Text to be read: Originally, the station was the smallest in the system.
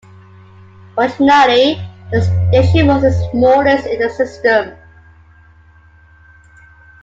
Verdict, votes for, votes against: accepted, 2, 0